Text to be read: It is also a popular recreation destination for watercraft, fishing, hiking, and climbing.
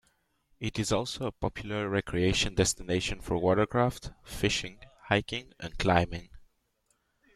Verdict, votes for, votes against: accepted, 2, 0